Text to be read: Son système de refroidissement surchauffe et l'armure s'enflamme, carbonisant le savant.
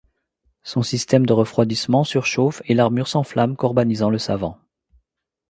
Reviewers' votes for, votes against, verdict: 2, 3, rejected